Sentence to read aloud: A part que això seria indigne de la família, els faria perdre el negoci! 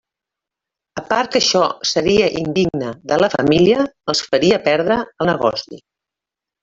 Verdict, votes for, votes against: accepted, 3, 1